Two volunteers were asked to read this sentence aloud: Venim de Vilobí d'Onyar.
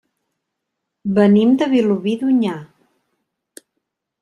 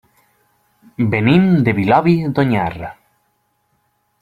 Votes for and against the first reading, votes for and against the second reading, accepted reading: 3, 0, 1, 2, first